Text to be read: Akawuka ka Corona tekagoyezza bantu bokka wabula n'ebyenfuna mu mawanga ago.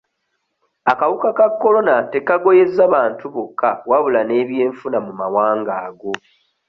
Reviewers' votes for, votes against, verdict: 2, 0, accepted